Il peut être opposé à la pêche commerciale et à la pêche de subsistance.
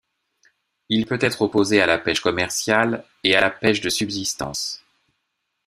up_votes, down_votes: 2, 0